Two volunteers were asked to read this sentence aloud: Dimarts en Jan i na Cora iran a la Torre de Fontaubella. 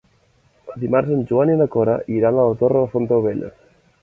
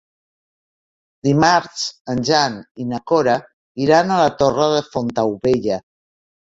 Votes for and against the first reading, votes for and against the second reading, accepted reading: 0, 2, 3, 0, second